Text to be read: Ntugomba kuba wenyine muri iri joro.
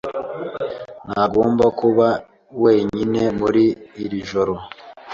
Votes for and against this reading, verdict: 1, 2, rejected